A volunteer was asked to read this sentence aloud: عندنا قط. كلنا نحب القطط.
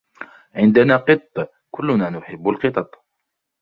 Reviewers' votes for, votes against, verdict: 0, 2, rejected